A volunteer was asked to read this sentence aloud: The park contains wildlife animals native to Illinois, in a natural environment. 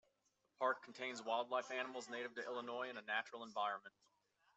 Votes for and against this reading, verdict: 2, 1, accepted